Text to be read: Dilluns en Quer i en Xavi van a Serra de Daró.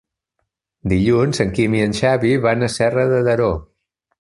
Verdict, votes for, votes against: rejected, 1, 2